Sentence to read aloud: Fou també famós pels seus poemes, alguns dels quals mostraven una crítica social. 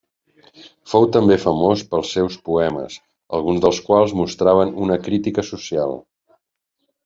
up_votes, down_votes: 3, 0